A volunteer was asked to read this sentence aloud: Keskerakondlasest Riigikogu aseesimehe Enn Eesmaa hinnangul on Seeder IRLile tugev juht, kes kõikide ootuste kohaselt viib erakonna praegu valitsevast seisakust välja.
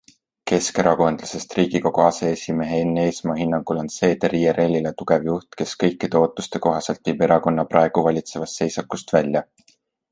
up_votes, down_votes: 2, 0